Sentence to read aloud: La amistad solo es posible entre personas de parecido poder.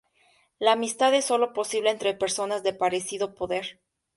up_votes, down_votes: 2, 2